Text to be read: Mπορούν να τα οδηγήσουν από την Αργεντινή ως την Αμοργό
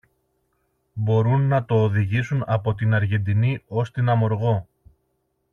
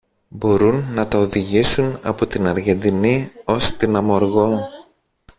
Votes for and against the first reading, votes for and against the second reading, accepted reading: 2, 0, 1, 2, first